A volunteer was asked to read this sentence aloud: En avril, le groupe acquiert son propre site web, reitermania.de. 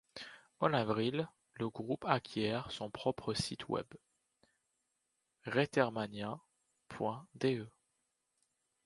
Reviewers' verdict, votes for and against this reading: accepted, 2, 0